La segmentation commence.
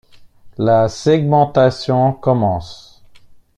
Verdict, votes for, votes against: accepted, 2, 0